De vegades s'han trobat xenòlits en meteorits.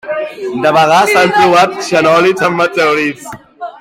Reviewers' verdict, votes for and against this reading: rejected, 1, 2